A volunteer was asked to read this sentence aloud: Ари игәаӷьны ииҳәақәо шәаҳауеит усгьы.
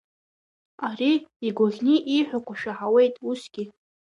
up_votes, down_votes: 2, 0